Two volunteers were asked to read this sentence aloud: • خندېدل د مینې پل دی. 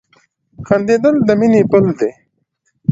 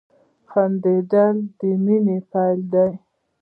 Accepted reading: first